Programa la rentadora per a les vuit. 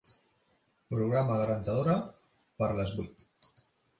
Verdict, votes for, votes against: accepted, 3, 2